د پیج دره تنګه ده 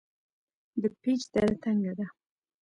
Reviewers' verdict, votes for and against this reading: rejected, 0, 2